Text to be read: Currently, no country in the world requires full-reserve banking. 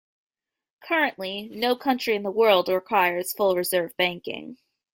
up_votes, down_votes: 2, 0